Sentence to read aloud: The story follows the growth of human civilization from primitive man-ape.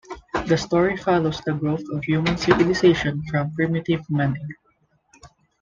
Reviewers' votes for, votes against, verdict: 1, 2, rejected